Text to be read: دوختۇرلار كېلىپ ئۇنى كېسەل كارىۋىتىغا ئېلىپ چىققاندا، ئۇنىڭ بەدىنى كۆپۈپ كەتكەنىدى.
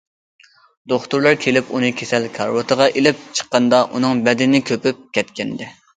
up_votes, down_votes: 2, 1